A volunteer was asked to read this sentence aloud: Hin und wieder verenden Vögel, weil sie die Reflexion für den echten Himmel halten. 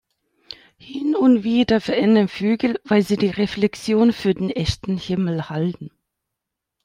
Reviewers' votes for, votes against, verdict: 2, 0, accepted